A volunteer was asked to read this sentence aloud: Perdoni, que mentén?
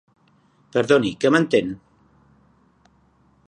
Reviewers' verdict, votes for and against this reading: accepted, 2, 0